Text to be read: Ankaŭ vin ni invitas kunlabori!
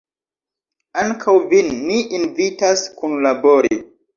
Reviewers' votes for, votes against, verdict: 2, 0, accepted